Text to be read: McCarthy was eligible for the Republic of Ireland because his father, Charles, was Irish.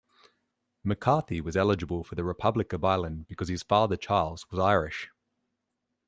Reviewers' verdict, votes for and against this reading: accepted, 2, 0